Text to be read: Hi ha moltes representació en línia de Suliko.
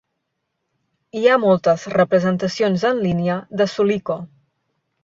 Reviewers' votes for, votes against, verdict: 0, 2, rejected